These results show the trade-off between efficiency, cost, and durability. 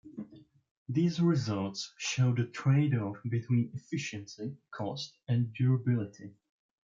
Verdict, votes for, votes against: accepted, 2, 0